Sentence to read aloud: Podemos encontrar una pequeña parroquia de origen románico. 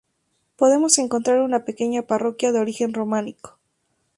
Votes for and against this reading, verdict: 2, 0, accepted